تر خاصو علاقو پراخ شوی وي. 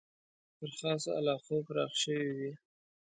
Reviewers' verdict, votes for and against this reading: accepted, 2, 0